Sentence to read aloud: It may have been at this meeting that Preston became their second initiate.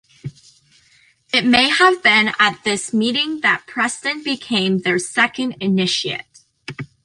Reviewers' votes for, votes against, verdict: 2, 0, accepted